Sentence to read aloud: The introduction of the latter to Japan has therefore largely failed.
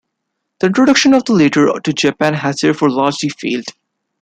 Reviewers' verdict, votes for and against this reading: rejected, 1, 2